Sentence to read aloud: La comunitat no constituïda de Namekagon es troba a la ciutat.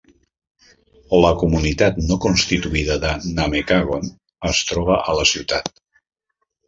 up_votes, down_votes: 3, 0